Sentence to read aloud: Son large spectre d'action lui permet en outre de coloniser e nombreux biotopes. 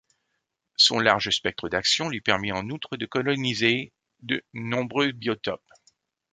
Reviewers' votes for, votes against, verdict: 1, 2, rejected